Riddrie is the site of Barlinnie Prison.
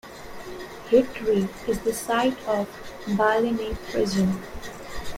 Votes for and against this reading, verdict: 1, 2, rejected